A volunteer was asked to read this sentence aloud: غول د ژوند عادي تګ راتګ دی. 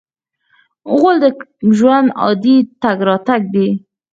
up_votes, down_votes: 0, 4